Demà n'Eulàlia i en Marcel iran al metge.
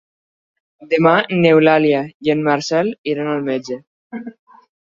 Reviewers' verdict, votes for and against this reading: accepted, 2, 0